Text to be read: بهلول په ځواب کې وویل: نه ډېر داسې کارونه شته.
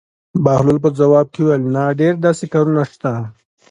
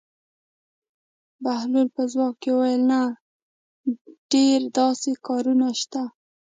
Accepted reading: first